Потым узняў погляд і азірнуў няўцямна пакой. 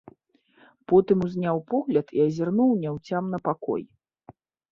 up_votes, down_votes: 2, 0